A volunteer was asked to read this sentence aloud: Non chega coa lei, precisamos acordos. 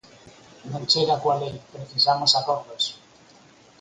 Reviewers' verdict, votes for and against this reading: accepted, 4, 2